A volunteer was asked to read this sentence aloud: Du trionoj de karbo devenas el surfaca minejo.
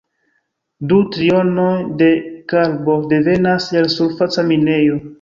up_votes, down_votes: 1, 2